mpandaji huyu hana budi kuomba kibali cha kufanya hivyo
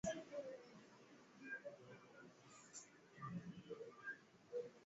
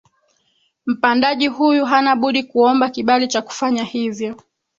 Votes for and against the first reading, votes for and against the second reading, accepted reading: 0, 2, 3, 1, second